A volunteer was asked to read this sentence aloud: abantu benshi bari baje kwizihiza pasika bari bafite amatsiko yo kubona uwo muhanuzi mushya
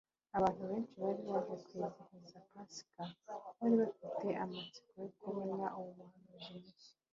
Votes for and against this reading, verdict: 0, 2, rejected